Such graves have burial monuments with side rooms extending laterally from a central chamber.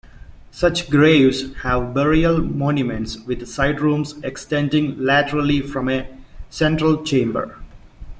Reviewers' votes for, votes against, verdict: 2, 0, accepted